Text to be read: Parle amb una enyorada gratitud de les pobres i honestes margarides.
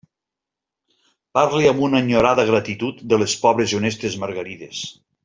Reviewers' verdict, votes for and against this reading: accepted, 2, 0